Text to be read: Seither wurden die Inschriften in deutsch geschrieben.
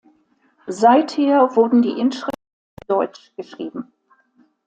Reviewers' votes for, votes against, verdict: 0, 2, rejected